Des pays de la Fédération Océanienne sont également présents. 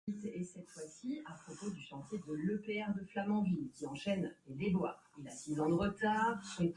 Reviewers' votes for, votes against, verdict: 0, 2, rejected